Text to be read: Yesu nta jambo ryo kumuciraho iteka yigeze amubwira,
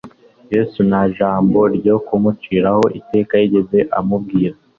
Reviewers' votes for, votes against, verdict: 2, 0, accepted